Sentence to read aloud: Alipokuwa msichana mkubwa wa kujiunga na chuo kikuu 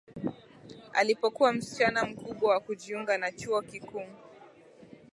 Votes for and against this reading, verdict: 2, 1, accepted